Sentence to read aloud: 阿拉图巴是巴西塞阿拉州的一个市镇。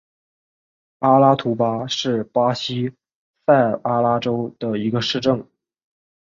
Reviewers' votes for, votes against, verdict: 8, 0, accepted